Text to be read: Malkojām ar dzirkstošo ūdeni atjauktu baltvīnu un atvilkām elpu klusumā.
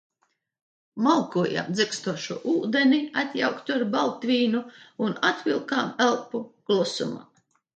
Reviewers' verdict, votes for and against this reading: rejected, 1, 2